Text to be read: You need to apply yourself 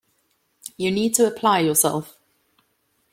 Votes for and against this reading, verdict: 2, 0, accepted